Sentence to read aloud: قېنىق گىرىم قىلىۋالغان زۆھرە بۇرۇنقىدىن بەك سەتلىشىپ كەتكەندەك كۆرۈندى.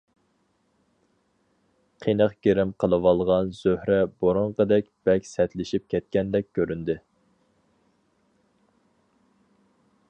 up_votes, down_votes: 0, 2